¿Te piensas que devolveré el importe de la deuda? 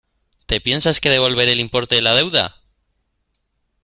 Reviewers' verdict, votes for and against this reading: accepted, 2, 0